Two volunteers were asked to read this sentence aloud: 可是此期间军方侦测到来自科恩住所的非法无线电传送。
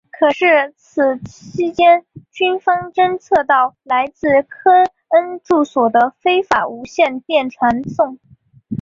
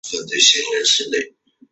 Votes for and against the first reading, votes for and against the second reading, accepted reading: 4, 1, 0, 2, first